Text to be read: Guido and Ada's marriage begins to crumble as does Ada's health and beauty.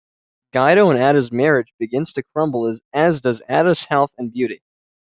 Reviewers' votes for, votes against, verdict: 1, 2, rejected